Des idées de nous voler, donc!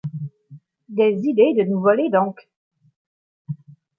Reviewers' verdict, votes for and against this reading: accepted, 2, 0